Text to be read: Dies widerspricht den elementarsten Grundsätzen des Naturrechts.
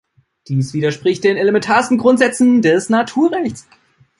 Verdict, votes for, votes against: rejected, 1, 2